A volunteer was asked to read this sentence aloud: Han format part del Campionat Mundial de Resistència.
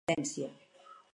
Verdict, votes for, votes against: rejected, 0, 6